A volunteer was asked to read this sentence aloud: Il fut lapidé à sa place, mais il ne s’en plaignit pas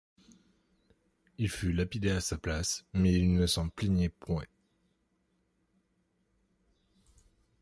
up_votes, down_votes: 0, 2